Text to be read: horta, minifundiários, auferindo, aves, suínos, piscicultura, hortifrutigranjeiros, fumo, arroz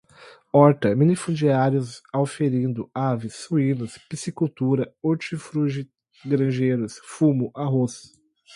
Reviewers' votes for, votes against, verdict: 0, 2, rejected